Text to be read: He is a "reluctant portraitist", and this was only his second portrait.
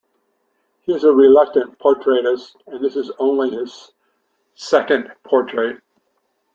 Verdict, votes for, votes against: rejected, 0, 2